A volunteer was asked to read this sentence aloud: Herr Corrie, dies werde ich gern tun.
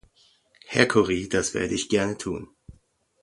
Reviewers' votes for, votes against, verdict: 2, 0, accepted